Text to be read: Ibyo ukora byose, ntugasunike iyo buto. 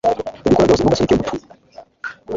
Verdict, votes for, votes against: rejected, 1, 2